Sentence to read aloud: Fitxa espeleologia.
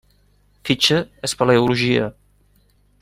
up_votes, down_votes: 2, 0